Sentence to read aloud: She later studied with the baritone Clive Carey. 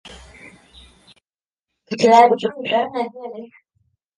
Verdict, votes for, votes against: rejected, 0, 2